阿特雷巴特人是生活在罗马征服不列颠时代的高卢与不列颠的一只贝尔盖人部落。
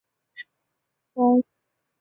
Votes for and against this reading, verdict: 0, 2, rejected